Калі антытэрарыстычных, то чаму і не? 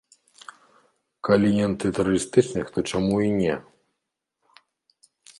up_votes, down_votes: 1, 2